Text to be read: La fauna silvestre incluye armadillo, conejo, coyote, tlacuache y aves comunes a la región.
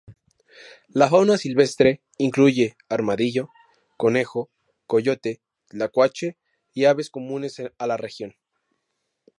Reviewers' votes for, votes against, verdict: 0, 2, rejected